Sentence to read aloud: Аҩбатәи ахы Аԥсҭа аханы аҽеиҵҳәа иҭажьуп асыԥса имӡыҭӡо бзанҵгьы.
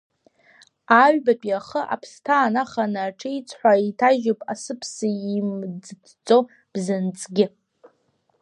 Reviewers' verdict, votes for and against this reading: rejected, 0, 2